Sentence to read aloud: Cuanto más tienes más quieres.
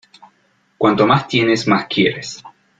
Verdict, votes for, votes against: accepted, 2, 0